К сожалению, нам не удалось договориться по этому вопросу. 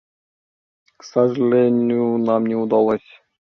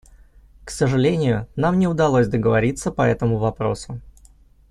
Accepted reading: second